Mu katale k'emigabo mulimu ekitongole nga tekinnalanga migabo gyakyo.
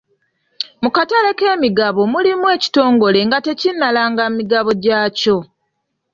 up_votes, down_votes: 2, 0